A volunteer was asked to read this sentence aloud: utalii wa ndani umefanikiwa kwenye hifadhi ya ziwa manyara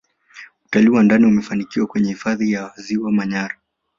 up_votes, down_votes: 2, 0